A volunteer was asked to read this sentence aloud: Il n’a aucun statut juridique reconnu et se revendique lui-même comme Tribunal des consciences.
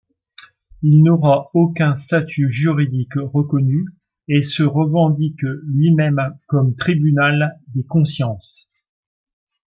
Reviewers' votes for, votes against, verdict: 1, 2, rejected